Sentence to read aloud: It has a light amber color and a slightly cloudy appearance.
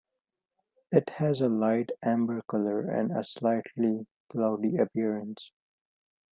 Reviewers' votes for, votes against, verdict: 2, 1, accepted